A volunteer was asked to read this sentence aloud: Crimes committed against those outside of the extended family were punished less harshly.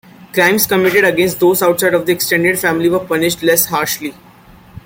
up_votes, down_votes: 2, 0